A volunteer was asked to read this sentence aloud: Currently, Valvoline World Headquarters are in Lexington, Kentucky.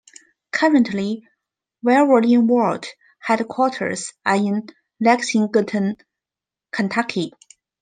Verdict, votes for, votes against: rejected, 1, 2